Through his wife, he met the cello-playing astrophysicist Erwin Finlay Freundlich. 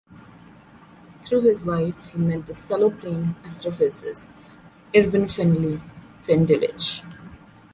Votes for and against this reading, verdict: 0, 2, rejected